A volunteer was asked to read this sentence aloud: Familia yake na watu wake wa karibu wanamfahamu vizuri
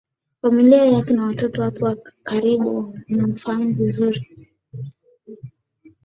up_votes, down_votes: 2, 1